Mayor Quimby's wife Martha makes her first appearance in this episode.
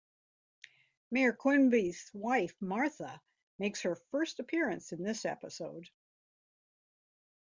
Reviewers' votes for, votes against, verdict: 2, 0, accepted